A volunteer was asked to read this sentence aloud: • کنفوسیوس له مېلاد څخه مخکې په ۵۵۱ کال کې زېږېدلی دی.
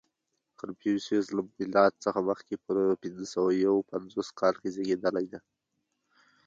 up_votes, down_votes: 0, 2